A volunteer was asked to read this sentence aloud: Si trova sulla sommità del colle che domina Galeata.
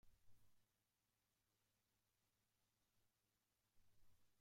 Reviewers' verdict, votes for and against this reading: rejected, 0, 2